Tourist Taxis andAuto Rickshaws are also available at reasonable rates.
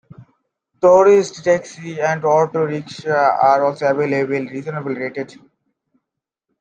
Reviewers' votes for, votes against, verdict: 0, 3, rejected